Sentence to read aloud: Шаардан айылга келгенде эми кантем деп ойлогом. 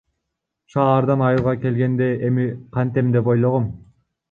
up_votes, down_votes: 1, 2